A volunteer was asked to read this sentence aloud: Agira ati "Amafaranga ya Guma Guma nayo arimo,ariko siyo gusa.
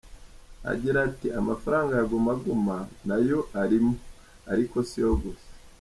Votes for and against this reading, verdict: 2, 1, accepted